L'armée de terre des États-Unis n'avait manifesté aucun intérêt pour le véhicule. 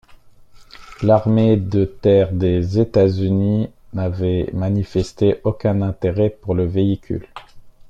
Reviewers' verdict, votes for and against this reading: accepted, 2, 1